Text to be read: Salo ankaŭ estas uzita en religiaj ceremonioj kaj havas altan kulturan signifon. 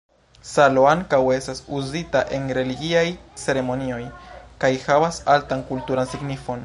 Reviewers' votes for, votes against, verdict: 2, 1, accepted